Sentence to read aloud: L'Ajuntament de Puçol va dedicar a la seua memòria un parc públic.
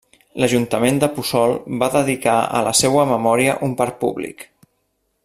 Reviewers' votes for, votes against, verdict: 3, 1, accepted